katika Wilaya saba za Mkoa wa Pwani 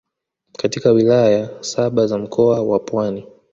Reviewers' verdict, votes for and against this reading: accepted, 2, 0